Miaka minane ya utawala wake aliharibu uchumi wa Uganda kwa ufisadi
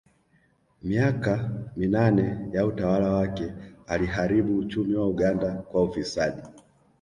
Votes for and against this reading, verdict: 2, 0, accepted